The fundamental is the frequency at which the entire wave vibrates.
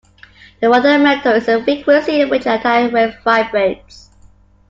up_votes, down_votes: 0, 2